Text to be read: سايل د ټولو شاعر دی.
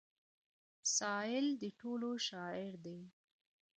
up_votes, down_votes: 2, 0